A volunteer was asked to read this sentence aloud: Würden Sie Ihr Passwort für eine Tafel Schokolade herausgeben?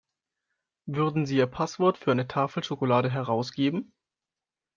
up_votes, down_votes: 2, 0